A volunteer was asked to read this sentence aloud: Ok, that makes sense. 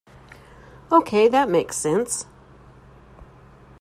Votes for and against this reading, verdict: 2, 0, accepted